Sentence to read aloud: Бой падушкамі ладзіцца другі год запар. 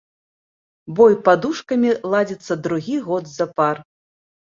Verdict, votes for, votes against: accepted, 2, 0